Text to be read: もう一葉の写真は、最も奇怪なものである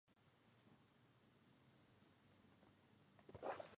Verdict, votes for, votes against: rejected, 0, 2